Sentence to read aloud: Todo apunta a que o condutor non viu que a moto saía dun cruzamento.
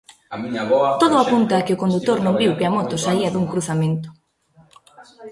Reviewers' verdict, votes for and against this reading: rejected, 0, 2